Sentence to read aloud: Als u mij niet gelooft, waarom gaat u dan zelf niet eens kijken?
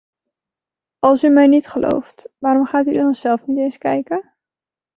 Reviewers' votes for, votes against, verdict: 1, 2, rejected